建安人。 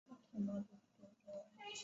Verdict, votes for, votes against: rejected, 0, 2